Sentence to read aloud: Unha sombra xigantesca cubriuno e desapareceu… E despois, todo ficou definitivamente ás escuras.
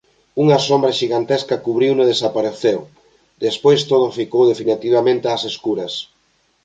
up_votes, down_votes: 0, 2